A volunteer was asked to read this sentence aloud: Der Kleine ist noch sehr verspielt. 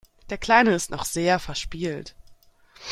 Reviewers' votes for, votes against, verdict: 1, 2, rejected